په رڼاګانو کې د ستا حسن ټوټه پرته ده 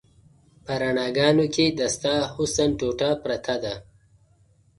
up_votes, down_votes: 2, 0